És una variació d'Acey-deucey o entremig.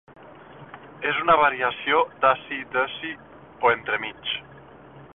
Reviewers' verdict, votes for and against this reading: rejected, 0, 2